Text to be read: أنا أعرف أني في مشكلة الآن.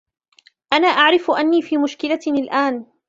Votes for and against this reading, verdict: 2, 0, accepted